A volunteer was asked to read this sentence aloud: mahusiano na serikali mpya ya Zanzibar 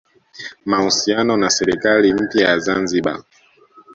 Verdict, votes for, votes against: accepted, 2, 0